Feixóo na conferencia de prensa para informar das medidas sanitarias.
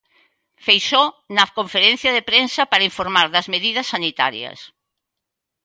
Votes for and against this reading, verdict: 2, 0, accepted